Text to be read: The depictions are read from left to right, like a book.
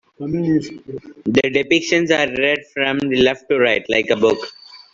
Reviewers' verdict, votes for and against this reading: accepted, 2, 0